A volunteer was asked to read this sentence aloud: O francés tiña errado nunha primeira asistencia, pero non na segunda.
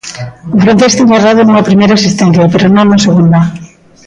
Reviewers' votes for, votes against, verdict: 1, 2, rejected